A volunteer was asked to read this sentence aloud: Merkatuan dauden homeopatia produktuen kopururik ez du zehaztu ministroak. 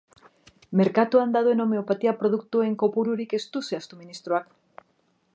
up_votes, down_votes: 2, 0